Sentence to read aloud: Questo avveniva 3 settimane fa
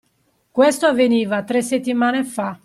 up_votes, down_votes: 0, 2